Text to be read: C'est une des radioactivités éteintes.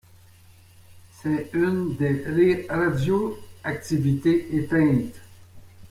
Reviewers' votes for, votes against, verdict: 0, 2, rejected